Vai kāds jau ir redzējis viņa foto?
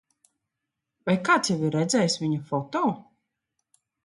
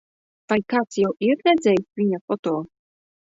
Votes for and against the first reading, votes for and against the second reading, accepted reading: 3, 0, 1, 2, first